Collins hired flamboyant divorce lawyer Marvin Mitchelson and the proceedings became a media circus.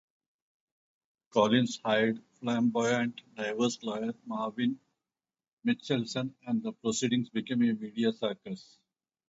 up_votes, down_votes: 2, 2